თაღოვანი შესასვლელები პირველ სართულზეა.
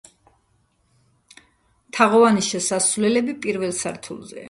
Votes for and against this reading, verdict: 1, 2, rejected